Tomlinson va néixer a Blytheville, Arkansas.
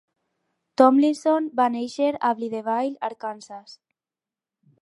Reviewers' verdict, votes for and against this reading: rejected, 0, 4